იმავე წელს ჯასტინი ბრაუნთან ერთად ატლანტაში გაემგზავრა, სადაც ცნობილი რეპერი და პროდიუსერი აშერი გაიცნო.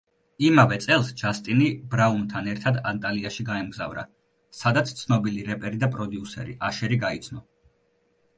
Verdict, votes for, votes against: accepted, 2, 0